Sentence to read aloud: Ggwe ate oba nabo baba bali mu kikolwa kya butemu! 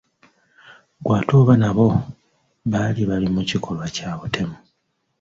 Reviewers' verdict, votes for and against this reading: rejected, 1, 2